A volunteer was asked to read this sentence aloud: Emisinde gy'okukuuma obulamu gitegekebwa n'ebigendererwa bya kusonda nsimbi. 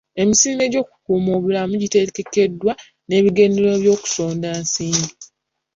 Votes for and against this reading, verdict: 1, 2, rejected